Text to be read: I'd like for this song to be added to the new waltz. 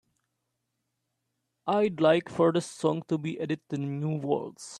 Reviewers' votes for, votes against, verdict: 2, 1, accepted